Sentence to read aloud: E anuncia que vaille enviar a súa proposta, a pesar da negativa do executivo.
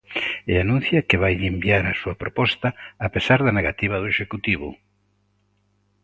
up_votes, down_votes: 2, 0